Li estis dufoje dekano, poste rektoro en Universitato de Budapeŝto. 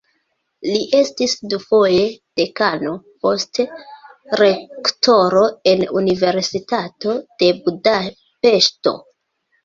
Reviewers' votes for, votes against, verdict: 2, 0, accepted